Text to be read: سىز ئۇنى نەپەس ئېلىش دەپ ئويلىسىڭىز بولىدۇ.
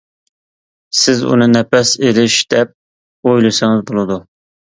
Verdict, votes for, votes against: accepted, 2, 0